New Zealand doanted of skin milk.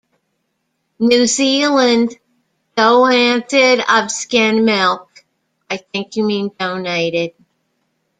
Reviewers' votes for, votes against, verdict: 0, 2, rejected